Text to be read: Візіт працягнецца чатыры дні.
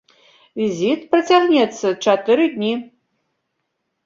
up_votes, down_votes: 1, 2